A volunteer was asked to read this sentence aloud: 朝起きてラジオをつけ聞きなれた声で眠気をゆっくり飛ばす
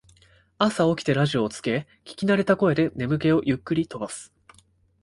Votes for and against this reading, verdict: 2, 1, accepted